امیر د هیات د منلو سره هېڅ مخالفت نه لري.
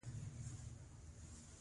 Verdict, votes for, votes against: rejected, 0, 2